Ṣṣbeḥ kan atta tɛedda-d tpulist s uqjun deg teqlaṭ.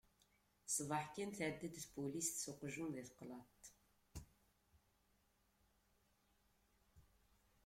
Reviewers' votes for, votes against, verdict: 0, 2, rejected